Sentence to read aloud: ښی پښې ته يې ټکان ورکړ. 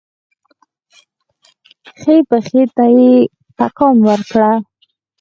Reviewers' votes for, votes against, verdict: 2, 4, rejected